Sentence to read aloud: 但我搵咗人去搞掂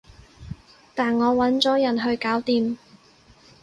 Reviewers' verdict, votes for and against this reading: accepted, 6, 0